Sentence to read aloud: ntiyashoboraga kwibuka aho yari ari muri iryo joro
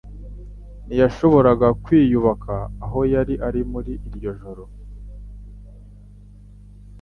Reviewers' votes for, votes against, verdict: 0, 2, rejected